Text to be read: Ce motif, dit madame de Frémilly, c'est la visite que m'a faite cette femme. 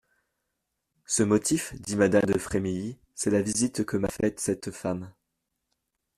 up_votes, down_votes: 2, 0